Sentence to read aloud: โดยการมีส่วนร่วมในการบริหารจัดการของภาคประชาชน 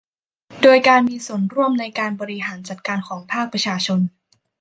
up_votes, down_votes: 0, 2